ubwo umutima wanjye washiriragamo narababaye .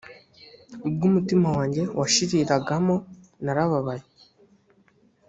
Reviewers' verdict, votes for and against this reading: accepted, 2, 0